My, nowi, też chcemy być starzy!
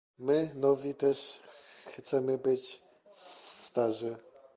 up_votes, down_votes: 0, 2